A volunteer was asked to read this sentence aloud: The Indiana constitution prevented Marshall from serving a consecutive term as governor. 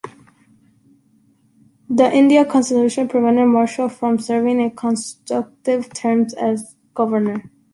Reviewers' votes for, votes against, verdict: 0, 3, rejected